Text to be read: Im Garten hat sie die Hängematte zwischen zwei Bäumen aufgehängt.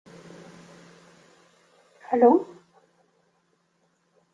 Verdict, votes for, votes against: rejected, 0, 2